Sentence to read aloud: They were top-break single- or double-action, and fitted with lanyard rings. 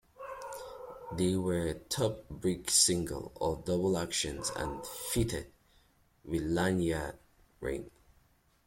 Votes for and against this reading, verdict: 0, 2, rejected